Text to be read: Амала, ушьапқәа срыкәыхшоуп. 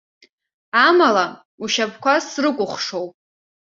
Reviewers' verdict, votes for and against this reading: accepted, 2, 0